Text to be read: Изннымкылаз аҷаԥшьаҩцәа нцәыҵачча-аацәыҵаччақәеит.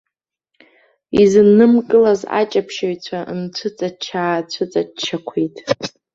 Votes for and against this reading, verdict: 1, 2, rejected